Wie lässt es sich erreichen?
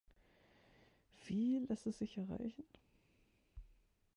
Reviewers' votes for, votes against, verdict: 1, 2, rejected